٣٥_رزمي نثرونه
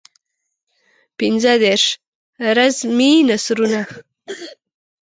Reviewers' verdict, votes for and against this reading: rejected, 0, 2